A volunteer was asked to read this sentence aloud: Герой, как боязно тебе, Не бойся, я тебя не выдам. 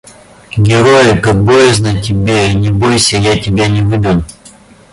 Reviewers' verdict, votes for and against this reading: accepted, 2, 0